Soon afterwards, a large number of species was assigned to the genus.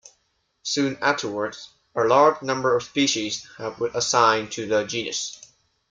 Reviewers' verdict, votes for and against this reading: accepted, 2, 1